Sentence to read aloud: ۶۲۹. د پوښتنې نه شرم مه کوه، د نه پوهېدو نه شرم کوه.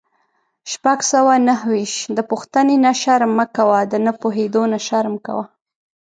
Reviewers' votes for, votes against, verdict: 0, 2, rejected